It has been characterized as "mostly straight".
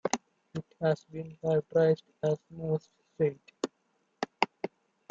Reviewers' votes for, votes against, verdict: 0, 2, rejected